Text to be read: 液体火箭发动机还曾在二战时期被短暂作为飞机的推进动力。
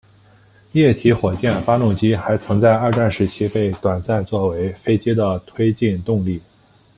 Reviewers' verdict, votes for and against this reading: accepted, 2, 0